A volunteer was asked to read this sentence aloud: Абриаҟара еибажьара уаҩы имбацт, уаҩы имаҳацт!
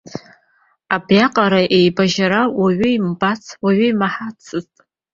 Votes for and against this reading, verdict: 3, 1, accepted